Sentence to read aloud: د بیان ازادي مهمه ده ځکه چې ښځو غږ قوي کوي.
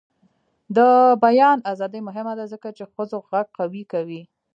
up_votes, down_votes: 0, 2